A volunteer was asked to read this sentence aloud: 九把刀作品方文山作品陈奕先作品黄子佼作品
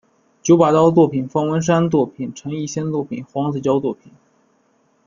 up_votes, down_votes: 1, 2